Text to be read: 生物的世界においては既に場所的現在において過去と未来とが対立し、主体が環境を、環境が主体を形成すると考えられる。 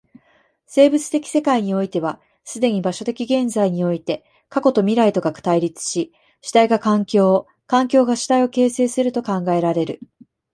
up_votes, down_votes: 0, 2